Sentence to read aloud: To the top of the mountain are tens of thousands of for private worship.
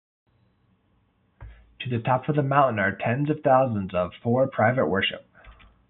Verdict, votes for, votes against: rejected, 0, 2